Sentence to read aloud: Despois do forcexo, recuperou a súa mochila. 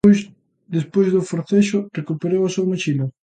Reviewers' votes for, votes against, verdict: 0, 2, rejected